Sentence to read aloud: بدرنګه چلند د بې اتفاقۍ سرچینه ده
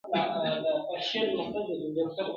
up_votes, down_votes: 1, 2